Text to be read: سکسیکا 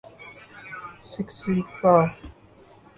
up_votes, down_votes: 0, 2